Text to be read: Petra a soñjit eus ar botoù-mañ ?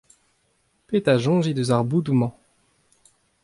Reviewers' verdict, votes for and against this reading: accepted, 2, 0